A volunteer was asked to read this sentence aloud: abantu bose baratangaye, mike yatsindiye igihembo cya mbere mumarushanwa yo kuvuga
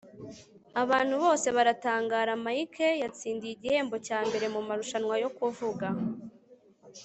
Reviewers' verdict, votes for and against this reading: rejected, 1, 3